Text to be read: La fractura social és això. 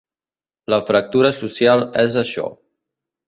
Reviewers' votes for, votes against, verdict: 3, 0, accepted